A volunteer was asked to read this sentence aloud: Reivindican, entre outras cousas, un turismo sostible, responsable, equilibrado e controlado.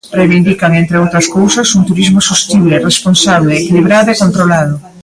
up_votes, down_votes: 2, 1